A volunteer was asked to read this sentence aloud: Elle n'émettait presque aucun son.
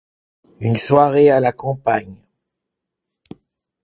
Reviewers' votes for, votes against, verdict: 0, 2, rejected